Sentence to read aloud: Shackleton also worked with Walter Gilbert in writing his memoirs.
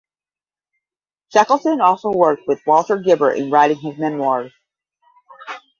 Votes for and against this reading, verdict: 10, 0, accepted